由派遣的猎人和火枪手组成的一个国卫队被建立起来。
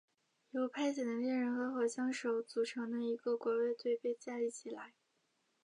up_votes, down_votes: 0, 2